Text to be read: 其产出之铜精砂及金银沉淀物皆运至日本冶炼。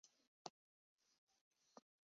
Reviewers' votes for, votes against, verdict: 2, 3, rejected